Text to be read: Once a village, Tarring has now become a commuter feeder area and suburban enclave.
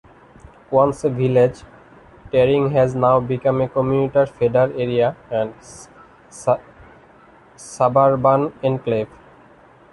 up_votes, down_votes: 1, 2